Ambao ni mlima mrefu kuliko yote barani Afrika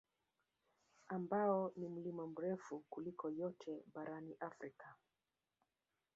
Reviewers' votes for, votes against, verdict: 2, 1, accepted